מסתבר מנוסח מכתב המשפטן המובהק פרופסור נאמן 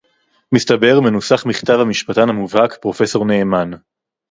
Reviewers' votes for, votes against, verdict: 2, 0, accepted